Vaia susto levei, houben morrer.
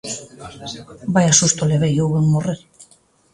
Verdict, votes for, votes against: accepted, 2, 0